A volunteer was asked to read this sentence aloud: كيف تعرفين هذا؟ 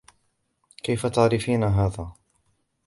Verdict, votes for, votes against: accepted, 3, 0